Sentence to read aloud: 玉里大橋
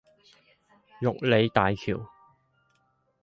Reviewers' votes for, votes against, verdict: 1, 2, rejected